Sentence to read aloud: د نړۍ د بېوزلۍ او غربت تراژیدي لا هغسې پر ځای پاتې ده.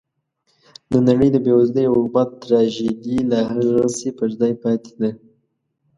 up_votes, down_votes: 2, 0